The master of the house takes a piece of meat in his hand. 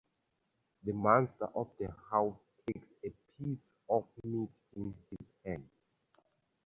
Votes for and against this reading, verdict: 2, 0, accepted